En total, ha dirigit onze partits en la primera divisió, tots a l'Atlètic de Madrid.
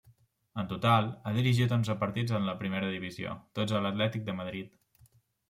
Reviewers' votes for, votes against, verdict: 2, 1, accepted